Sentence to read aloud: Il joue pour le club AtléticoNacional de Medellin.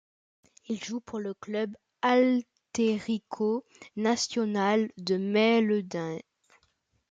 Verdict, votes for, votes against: rejected, 0, 2